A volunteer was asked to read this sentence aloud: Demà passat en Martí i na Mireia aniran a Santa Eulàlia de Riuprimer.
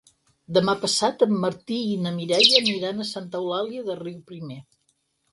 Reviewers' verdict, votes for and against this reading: accepted, 4, 0